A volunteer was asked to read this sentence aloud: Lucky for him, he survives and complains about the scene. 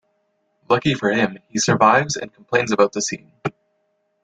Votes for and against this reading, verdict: 2, 0, accepted